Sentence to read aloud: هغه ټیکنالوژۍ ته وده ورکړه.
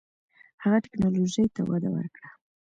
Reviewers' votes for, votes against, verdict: 2, 0, accepted